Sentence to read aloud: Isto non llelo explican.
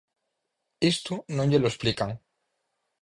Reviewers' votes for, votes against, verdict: 4, 0, accepted